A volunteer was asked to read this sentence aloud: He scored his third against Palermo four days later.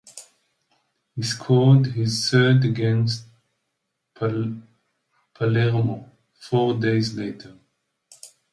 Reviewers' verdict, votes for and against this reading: rejected, 0, 2